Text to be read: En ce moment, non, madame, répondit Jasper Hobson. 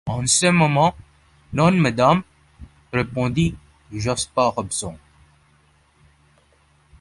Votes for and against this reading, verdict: 0, 2, rejected